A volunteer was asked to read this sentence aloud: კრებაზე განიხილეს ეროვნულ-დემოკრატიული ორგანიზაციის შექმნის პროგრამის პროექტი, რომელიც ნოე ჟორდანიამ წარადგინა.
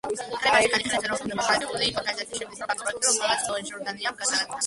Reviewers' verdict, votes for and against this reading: rejected, 0, 2